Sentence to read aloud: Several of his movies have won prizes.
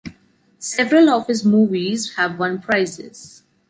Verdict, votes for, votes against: accepted, 2, 0